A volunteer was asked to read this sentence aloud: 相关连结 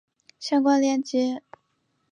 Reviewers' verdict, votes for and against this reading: rejected, 1, 2